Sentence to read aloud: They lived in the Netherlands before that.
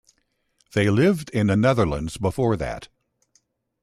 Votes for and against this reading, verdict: 2, 0, accepted